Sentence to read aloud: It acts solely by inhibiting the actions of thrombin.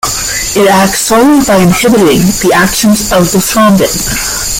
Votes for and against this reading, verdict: 0, 2, rejected